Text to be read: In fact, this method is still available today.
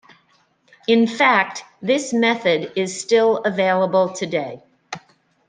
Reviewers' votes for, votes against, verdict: 2, 0, accepted